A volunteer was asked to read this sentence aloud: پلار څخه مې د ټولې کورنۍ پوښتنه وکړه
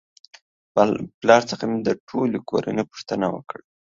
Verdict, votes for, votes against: accepted, 2, 0